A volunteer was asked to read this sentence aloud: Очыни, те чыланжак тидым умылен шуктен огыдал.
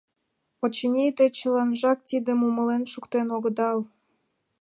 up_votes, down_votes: 2, 0